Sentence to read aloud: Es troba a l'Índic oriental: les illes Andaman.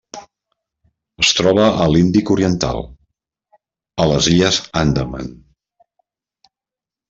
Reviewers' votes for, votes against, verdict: 1, 2, rejected